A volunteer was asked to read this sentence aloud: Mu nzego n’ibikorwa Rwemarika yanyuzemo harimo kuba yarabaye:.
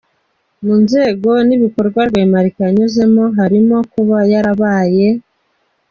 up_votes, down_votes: 2, 0